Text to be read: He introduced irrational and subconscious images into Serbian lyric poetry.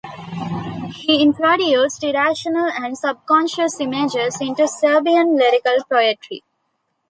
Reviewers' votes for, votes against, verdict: 2, 1, accepted